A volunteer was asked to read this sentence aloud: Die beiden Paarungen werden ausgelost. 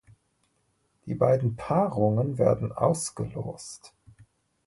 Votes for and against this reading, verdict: 2, 0, accepted